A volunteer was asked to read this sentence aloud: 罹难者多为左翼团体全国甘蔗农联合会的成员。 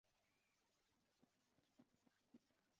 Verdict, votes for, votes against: rejected, 0, 2